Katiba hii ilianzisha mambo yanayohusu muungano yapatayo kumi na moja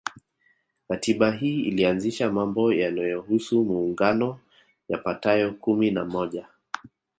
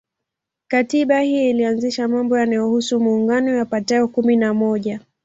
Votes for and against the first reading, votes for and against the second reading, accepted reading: 2, 0, 1, 2, first